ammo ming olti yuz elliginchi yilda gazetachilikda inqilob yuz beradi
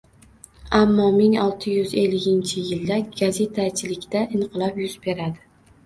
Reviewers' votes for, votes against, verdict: 1, 2, rejected